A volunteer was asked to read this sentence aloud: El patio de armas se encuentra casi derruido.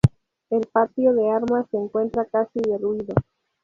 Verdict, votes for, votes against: accepted, 2, 0